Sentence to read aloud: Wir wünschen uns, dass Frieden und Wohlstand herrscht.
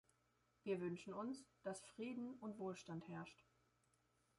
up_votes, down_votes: 2, 1